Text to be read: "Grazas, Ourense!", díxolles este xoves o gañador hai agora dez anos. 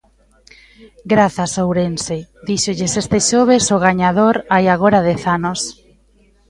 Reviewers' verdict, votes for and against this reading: accepted, 2, 0